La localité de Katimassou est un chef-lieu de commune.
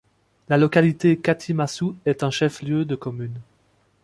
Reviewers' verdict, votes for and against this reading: rejected, 0, 2